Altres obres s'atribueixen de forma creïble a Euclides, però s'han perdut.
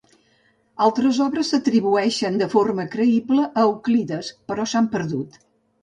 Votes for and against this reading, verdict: 4, 0, accepted